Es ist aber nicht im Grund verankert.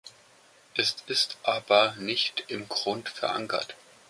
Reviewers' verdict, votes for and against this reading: accepted, 2, 0